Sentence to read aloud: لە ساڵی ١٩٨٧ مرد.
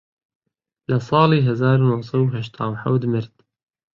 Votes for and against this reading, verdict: 0, 2, rejected